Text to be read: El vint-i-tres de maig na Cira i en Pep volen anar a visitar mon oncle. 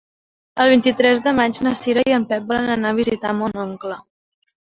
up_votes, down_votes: 2, 1